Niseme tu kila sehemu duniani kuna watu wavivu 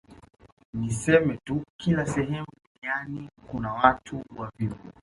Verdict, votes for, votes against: rejected, 0, 2